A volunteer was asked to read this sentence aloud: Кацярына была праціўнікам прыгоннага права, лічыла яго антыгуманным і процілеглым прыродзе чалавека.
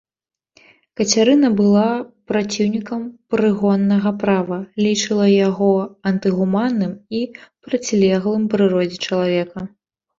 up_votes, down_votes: 2, 0